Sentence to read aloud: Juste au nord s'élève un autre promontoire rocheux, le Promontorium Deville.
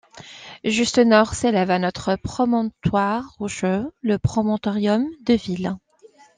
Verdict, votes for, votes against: accepted, 2, 0